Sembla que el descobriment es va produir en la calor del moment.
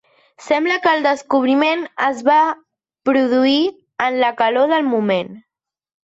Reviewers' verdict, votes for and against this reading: accepted, 2, 0